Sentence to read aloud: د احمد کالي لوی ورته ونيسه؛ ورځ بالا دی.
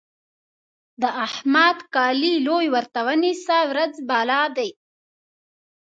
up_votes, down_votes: 2, 0